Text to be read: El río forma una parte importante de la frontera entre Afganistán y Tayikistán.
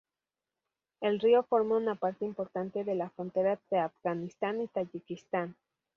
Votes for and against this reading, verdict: 0, 2, rejected